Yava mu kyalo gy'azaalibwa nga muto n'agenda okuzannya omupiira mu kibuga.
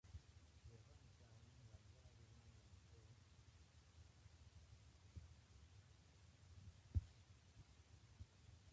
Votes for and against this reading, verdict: 0, 2, rejected